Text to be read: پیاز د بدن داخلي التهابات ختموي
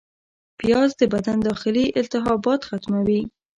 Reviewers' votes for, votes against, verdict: 2, 0, accepted